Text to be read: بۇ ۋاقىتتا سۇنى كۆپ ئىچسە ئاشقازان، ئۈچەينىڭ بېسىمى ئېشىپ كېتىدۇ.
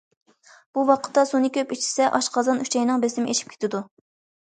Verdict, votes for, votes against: accepted, 2, 0